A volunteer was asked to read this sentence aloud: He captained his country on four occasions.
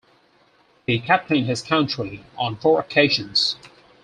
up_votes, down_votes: 4, 0